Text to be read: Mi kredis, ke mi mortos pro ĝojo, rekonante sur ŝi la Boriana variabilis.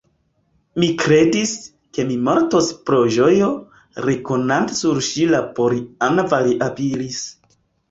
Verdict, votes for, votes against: rejected, 1, 2